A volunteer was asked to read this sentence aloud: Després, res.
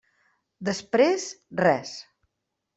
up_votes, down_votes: 3, 0